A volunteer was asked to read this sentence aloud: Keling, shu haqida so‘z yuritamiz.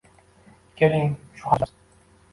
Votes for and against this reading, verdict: 0, 2, rejected